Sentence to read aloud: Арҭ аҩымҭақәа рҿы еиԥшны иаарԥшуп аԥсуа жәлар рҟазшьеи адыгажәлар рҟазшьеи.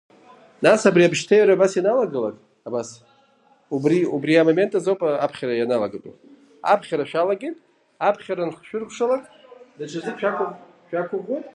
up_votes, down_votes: 0, 4